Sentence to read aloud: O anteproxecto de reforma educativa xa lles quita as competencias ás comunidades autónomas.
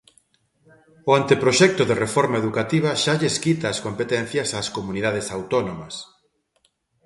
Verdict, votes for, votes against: accepted, 2, 0